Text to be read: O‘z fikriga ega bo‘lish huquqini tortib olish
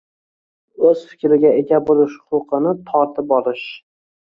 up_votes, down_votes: 1, 2